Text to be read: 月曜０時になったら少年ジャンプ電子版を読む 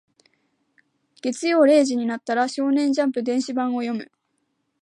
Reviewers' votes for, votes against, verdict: 0, 2, rejected